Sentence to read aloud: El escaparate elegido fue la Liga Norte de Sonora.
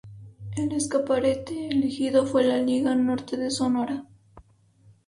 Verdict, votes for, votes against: rejected, 0, 2